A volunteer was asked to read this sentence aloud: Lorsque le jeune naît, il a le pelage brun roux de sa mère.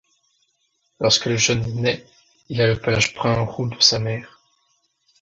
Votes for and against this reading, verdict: 2, 1, accepted